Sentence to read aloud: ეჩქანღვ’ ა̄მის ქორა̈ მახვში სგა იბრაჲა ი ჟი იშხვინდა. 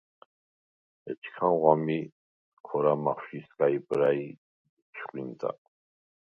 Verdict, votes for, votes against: rejected, 0, 4